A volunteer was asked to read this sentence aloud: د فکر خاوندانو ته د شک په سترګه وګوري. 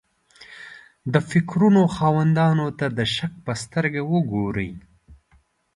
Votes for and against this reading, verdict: 1, 2, rejected